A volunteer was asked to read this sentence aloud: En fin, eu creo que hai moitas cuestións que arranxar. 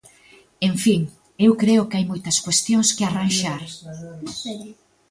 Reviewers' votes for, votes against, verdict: 0, 2, rejected